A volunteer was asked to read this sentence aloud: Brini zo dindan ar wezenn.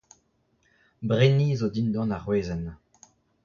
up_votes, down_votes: 2, 1